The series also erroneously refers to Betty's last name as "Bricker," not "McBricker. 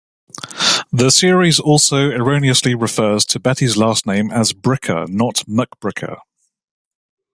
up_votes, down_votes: 2, 0